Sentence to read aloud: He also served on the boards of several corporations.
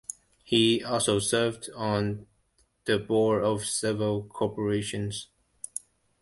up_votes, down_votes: 0, 2